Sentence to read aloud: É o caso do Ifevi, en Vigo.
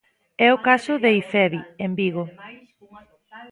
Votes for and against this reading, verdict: 0, 2, rejected